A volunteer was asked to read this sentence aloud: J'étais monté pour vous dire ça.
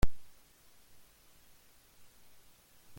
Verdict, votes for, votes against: rejected, 0, 2